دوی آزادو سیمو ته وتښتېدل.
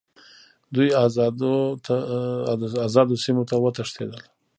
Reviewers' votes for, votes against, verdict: 1, 2, rejected